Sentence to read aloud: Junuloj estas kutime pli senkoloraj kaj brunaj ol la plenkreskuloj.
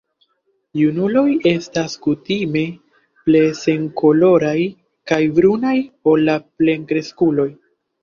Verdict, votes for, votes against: rejected, 1, 2